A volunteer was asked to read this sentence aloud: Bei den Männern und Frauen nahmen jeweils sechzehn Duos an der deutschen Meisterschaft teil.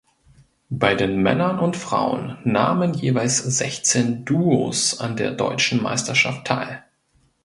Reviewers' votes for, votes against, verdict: 2, 0, accepted